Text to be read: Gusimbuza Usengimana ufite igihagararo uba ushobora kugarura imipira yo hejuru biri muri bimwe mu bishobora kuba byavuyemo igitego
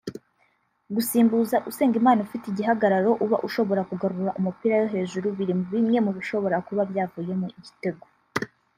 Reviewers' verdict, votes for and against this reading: rejected, 1, 2